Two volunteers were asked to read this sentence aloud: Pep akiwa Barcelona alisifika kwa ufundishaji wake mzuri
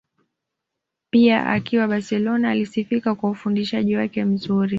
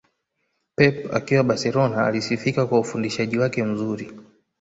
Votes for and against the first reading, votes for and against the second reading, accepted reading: 0, 2, 2, 0, second